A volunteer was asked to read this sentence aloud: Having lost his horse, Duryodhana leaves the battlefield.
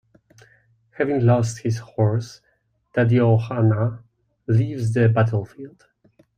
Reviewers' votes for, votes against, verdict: 2, 1, accepted